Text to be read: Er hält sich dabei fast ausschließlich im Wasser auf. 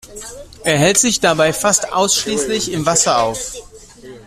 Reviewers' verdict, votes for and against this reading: accepted, 2, 0